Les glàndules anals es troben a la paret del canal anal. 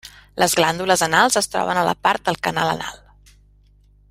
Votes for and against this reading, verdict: 0, 2, rejected